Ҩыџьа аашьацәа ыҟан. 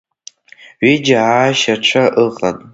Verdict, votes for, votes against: accepted, 2, 1